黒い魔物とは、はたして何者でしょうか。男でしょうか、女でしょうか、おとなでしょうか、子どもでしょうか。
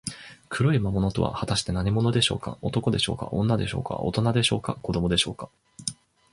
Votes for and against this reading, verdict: 3, 0, accepted